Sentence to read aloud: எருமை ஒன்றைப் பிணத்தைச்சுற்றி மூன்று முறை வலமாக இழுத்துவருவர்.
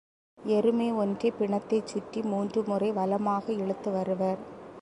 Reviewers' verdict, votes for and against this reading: accepted, 2, 0